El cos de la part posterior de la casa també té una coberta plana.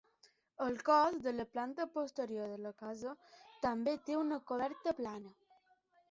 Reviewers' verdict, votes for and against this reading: rejected, 0, 2